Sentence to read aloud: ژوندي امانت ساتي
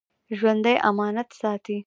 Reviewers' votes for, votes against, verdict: 1, 2, rejected